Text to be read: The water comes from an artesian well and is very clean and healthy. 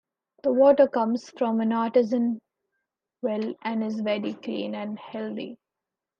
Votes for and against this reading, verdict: 1, 2, rejected